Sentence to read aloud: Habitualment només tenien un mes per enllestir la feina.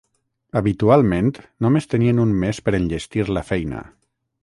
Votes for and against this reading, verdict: 3, 3, rejected